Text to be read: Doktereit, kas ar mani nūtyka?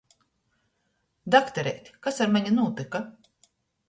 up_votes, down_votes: 2, 0